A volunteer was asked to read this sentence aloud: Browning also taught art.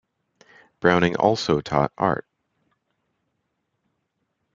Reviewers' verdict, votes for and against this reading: rejected, 1, 2